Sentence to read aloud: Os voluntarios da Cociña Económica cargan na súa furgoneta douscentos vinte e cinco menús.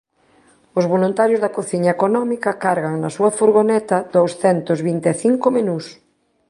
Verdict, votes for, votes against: accepted, 3, 0